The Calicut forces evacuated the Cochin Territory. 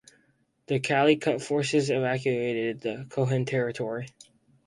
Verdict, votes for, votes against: rejected, 0, 4